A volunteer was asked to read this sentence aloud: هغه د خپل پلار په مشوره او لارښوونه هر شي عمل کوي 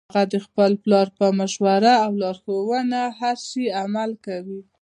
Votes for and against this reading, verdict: 2, 0, accepted